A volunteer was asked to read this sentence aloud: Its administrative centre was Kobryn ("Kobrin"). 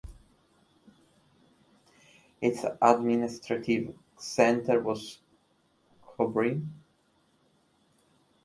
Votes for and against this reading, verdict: 1, 3, rejected